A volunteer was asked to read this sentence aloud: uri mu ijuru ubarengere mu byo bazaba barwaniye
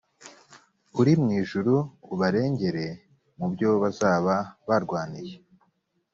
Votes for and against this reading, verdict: 2, 0, accepted